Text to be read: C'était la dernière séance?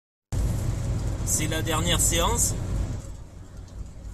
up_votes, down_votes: 0, 2